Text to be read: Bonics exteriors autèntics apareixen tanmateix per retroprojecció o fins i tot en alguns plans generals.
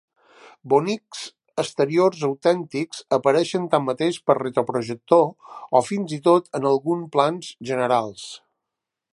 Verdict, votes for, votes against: rejected, 0, 2